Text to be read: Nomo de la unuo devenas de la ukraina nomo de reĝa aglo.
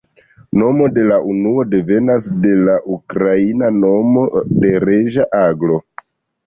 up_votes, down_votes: 1, 2